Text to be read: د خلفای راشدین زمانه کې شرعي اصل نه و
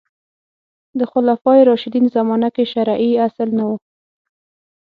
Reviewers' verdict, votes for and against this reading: accepted, 6, 0